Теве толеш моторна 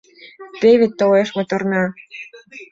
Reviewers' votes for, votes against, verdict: 2, 0, accepted